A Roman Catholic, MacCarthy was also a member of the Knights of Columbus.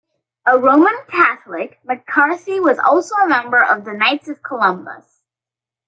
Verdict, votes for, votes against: accepted, 2, 0